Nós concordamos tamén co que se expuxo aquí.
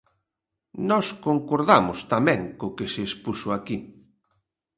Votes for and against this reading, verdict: 2, 0, accepted